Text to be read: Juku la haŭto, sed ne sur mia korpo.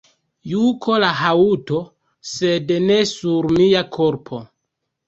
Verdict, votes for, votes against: rejected, 0, 2